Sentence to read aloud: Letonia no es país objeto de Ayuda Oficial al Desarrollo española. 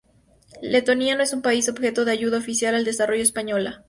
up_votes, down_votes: 2, 0